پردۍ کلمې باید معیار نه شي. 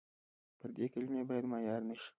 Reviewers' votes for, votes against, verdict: 2, 0, accepted